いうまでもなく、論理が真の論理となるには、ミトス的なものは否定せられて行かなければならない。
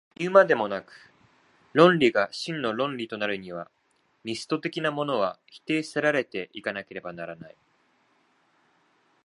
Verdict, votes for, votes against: rejected, 1, 2